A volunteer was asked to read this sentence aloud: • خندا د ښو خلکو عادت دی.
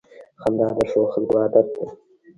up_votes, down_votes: 0, 2